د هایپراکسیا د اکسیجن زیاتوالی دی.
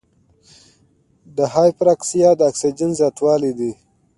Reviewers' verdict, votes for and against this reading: accepted, 2, 0